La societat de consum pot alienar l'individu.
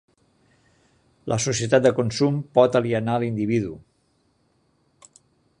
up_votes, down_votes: 3, 0